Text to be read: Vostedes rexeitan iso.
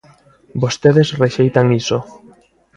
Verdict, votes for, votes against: accepted, 2, 0